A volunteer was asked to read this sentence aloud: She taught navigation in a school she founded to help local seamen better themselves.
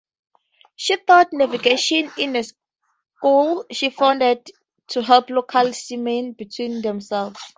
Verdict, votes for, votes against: accepted, 2, 0